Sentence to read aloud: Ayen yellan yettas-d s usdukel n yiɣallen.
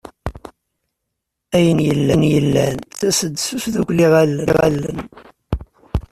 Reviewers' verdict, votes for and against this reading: rejected, 0, 2